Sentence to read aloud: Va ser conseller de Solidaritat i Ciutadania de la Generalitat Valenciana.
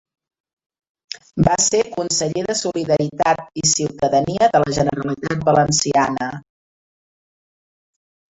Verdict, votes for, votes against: accepted, 2, 1